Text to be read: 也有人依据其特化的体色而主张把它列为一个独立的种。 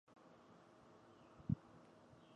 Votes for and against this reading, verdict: 0, 4, rejected